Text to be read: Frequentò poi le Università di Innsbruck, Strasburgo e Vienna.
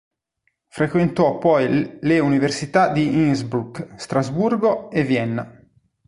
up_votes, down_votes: 1, 2